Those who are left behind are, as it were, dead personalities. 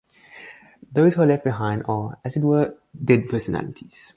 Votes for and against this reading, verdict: 2, 0, accepted